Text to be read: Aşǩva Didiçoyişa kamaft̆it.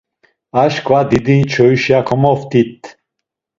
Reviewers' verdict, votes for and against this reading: accepted, 2, 1